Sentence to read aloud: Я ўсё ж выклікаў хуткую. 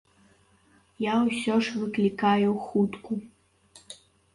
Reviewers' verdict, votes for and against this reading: rejected, 1, 2